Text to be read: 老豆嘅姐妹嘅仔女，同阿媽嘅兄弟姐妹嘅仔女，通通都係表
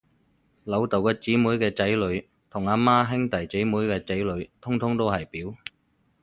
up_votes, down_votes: 2, 0